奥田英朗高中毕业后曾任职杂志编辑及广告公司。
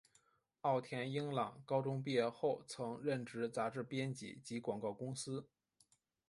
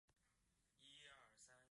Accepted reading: first